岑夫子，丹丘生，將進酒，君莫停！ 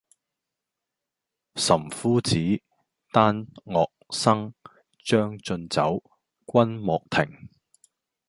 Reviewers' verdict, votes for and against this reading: rejected, 1, 2